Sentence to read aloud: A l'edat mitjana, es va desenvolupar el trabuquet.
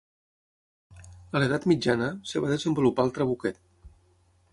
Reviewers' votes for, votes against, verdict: 0, 6, rejected